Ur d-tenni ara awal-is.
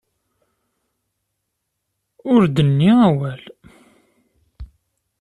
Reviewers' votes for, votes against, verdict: 1, 2, rejected